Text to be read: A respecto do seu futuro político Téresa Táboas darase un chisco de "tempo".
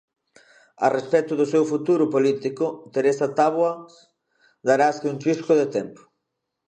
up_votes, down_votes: 0, 2